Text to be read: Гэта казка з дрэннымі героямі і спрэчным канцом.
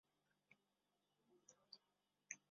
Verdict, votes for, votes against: rejected, 0, 2